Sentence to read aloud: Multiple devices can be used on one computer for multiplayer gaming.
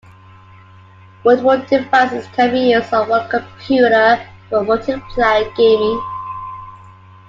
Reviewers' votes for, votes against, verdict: 2, 0, accepted